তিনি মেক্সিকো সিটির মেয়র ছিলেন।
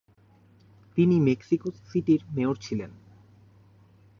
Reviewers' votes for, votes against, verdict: 0, 2, rejected